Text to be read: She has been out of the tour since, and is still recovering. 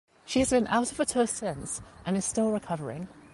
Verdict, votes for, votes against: accepted, 2, 0